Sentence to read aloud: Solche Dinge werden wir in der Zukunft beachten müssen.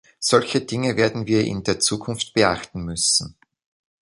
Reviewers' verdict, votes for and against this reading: accepted, 2, 1